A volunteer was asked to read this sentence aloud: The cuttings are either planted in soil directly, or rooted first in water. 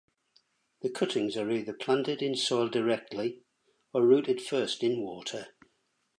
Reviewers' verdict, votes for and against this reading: accepted, 2, 1